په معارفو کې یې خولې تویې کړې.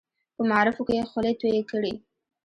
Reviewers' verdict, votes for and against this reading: accepted, 2, 1